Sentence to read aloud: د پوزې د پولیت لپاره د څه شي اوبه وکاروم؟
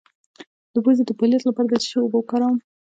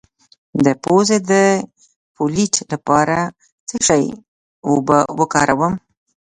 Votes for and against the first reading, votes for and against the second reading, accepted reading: 1, 2, 2, 1, second